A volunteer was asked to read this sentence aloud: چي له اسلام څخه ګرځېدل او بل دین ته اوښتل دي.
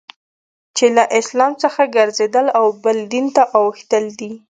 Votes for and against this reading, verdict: 2, 0, accepted